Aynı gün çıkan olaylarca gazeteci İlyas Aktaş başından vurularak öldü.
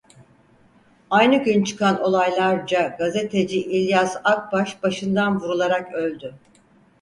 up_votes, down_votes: 2, 4